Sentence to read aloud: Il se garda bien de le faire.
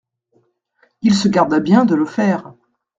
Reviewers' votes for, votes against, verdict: 2, 0, accepted